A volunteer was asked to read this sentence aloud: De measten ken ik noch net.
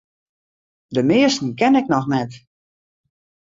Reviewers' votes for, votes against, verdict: 2, 0, accepted